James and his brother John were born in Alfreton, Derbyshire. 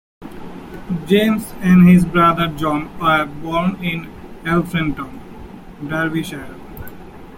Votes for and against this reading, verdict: 2, 1, accepted